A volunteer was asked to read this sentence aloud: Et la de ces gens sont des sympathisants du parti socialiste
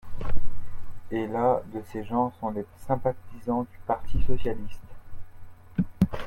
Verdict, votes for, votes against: accepted, 2, 1